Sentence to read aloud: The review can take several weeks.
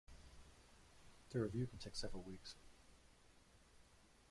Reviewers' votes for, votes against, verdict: 2, 0, accepted